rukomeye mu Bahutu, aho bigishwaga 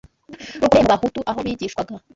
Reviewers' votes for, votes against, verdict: 1, 2, rejected